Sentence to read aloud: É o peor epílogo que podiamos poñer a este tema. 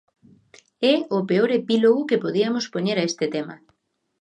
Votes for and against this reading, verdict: 1, 2, rejected